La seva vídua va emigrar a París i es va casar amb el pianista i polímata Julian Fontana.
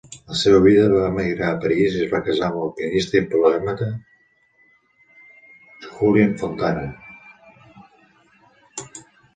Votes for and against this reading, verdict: 1, 3, rejected